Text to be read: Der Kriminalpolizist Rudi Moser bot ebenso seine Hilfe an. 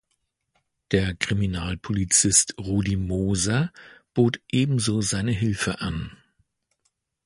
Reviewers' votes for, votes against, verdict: 2, 0, accepted